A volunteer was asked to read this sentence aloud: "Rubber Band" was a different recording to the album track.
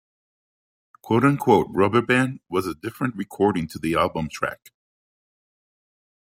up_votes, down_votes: 2, 1